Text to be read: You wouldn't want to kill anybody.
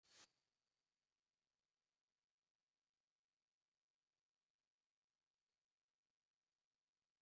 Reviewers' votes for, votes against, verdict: 0, 2, rejected